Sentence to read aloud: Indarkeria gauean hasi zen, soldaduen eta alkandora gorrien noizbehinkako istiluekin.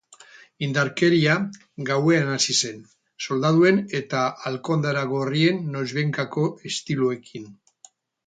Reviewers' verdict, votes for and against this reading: rejected, 0, 4